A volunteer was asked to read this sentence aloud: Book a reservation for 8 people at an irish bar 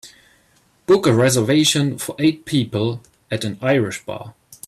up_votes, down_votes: 0, 2